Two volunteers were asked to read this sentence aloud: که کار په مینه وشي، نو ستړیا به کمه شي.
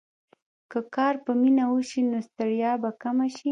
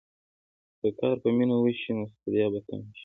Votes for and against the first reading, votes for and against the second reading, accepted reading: 0, 2, 2, 0, second